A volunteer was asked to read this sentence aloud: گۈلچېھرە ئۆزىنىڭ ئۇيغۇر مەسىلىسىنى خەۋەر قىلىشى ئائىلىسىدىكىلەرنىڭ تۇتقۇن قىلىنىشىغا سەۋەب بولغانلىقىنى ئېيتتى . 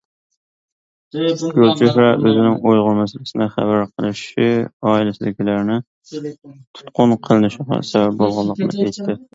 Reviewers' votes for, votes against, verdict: 0, 2, rejected